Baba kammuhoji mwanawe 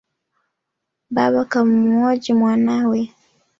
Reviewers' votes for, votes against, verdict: 3, 0, accepted